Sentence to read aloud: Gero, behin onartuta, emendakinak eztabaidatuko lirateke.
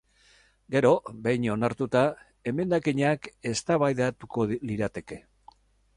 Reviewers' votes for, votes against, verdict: 2, 0, accepted